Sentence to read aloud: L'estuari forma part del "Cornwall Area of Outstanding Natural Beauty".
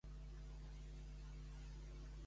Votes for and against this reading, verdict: 0, 3, rejected